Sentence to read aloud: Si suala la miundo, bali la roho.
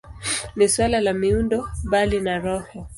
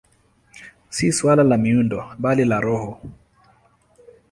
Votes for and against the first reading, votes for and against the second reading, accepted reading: 0, 2, 2, 1, second